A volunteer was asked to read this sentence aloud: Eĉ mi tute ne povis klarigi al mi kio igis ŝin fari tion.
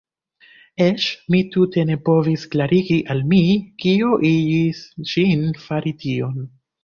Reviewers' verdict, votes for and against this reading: rejected, 0, 2